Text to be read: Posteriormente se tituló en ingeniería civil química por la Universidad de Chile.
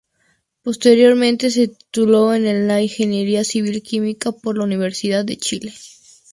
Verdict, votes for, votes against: rejected, 0, 2